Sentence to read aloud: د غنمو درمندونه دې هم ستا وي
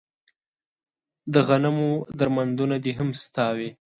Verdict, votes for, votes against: accepted, 2, 0